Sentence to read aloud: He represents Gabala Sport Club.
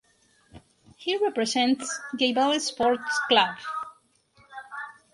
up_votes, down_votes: 2, 4